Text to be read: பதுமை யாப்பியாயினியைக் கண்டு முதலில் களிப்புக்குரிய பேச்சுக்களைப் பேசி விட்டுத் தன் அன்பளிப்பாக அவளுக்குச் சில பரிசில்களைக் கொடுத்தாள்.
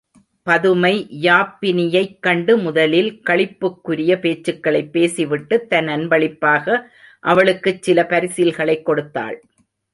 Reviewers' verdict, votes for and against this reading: rejected, 0, 2